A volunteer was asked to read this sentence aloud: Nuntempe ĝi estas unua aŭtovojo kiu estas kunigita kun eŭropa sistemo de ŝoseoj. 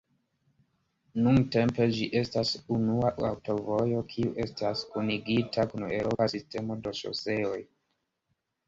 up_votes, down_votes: 3, 0